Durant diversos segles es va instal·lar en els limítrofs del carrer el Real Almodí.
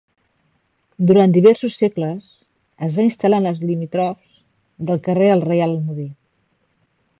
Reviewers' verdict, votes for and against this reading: rejected, 0, 2